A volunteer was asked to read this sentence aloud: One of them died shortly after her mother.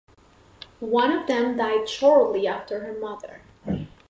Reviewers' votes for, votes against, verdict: 2, 0, accepted